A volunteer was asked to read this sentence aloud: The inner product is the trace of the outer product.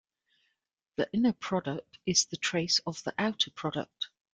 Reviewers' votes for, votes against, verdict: 2, 0, accepted